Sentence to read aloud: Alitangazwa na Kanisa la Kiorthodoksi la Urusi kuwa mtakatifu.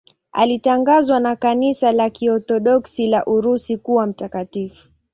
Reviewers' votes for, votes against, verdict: 2, 0, accepted